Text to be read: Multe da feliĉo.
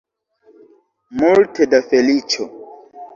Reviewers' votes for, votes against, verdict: 2, 3, rejected